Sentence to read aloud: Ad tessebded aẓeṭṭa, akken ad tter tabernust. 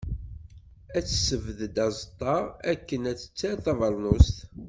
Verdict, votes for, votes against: accepted, 2, 0